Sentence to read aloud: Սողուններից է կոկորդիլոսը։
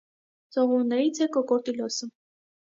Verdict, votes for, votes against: accepted, 2, 0